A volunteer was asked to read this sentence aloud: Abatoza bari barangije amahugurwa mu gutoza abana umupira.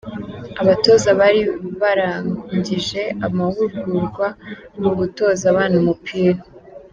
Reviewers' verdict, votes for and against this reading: accepted, 2, 1